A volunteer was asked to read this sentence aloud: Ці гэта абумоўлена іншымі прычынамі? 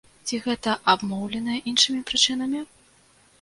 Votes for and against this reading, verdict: 0, 2, rejected